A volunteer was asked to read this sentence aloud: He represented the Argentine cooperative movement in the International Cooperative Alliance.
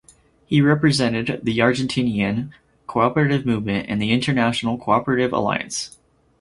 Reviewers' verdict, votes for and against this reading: rejected, 2, 2